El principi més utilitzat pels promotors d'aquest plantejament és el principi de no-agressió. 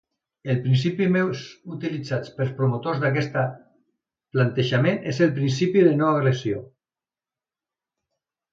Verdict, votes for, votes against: rejected, 2, 3